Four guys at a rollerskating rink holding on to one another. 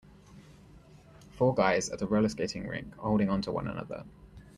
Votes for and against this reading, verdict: 2, 0, accepted